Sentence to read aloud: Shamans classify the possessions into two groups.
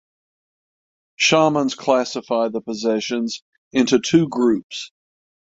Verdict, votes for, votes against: accepted, 6, 0